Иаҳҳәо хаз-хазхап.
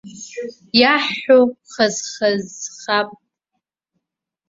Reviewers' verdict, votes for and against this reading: rejected, 1, 2